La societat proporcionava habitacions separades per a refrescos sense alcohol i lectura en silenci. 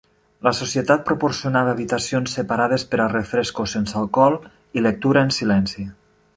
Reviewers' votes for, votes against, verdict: 0, 2, rejected